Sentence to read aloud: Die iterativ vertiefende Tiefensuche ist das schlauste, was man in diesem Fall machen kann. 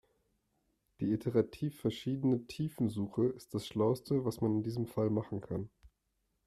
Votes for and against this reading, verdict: 0, 2, rejected